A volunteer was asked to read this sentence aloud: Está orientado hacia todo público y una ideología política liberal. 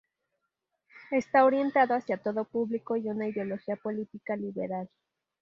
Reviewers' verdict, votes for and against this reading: accepted, 2, 0